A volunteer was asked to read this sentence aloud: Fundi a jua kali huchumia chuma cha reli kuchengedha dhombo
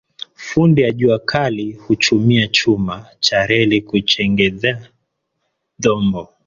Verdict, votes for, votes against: accepted, 2, 1